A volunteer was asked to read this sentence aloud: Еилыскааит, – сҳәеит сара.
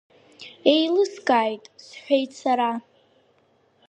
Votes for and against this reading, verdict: 2, 0, accepted